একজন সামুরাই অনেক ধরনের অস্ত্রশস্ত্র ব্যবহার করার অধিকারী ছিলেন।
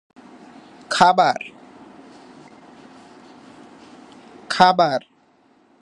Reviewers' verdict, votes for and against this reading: rejected, 0, 2